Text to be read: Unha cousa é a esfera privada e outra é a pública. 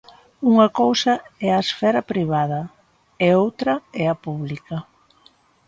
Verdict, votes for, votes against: accepted, 2, 0